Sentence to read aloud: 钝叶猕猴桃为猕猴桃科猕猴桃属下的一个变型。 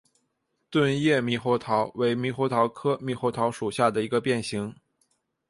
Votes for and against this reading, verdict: 3, 0, accepted